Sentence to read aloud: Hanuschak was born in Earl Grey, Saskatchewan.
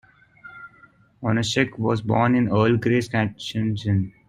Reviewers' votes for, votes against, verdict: 1, 2, rejected